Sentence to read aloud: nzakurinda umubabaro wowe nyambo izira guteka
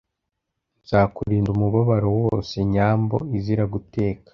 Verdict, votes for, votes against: rejected, 1, 2